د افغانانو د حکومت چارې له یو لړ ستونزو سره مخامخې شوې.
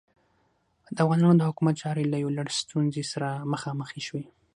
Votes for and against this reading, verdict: 6, 0, accepted